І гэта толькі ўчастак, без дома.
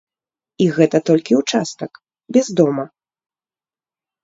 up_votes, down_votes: 1, 2